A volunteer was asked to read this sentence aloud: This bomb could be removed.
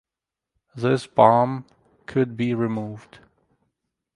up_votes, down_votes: 4, 0